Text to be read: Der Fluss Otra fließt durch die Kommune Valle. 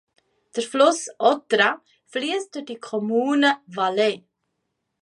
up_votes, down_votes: 2, 0